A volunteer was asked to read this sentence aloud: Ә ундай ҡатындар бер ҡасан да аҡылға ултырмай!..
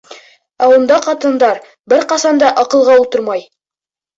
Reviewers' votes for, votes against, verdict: 2, 0, accepted